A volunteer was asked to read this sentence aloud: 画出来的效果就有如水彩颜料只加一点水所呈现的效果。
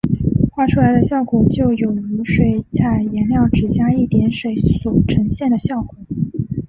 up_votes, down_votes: 2, 0